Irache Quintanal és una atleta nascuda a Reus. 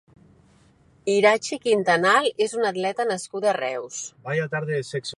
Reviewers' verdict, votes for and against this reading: rejected, 2, 4